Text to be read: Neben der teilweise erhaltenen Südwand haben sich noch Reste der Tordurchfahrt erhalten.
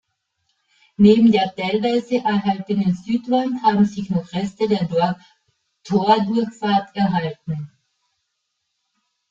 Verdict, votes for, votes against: rejected, 0, 2